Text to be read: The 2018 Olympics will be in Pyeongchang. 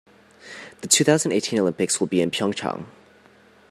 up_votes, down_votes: 0, 2